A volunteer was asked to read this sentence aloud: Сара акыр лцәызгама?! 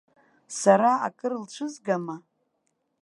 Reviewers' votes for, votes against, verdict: 2, 0, accepted